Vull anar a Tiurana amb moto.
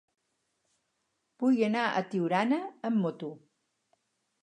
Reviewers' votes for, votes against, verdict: 4, 0, accepted